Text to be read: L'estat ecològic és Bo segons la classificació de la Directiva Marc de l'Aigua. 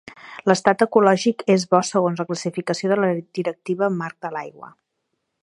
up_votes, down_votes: 4, 1